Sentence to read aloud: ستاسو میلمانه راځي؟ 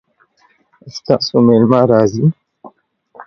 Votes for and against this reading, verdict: 1, 2, rejected